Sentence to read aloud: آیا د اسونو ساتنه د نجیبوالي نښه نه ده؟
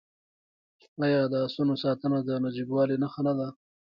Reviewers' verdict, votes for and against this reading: rejected, 0, 2